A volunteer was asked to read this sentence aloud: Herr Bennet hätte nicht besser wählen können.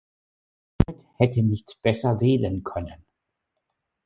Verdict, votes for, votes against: rejected, 0, 3